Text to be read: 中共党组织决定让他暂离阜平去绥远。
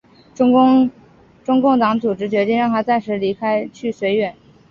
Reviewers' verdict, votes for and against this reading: rejected, 0, 4